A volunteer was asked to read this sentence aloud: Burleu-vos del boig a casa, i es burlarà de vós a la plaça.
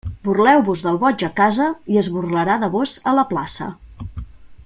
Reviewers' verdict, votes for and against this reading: accepted, 2, 0